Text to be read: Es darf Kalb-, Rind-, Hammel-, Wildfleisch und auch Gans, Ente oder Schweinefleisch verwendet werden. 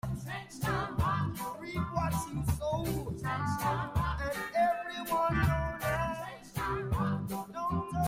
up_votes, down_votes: 0, 2